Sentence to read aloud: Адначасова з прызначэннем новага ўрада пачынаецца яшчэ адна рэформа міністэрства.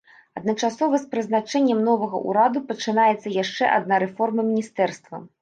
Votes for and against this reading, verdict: 0, 2, rejected